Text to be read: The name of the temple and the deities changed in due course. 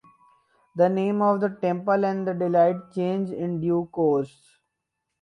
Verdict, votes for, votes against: rejected, 0, 4